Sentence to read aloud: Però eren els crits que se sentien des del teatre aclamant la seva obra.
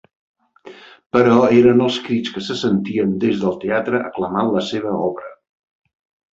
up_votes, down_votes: 5, 1